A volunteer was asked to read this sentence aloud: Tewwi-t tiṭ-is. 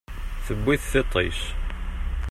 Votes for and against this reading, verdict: 0, 2, rejected